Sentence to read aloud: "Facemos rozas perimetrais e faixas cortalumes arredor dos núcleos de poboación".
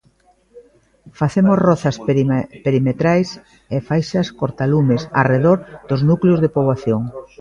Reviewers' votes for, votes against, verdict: 0, 2, rejected